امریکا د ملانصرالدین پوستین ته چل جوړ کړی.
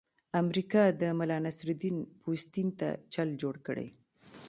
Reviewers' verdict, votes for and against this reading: accepted, 2, 0